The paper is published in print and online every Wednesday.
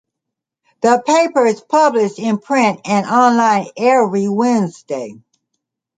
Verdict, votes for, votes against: accepted, 2, 0